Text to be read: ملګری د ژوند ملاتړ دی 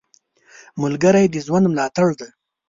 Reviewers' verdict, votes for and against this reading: accepted, 2, 0